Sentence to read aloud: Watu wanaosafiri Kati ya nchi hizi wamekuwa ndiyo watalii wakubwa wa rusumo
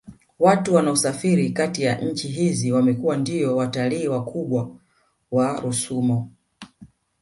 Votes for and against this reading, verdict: 2, 0, accepted